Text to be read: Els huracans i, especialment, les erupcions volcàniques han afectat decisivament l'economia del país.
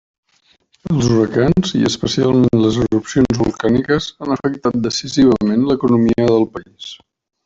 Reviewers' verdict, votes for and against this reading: accepted, 3, 0